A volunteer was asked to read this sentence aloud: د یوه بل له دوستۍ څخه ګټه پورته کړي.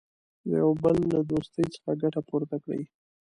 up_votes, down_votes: 2, 0